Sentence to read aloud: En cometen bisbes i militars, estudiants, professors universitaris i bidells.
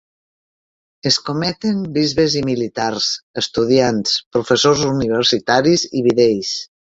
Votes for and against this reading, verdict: 2, 3, rejected